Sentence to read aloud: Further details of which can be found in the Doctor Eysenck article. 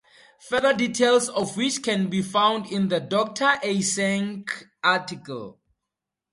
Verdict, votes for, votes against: accepted, 2, 0